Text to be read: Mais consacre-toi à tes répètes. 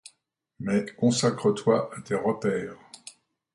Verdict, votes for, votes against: rejected, 0, 2